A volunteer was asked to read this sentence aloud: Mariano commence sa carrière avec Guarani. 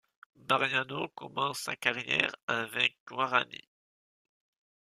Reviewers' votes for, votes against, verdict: 0, 2, rejected